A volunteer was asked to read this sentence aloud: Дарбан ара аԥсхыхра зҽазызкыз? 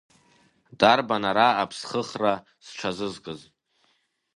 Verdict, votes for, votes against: accepted, 2, 0